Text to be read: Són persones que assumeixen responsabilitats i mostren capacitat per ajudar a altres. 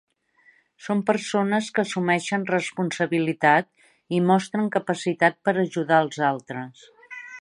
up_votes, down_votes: 0, 2